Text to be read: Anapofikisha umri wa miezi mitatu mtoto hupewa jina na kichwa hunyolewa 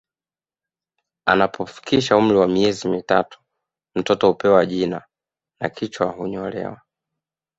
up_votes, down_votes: 2, 0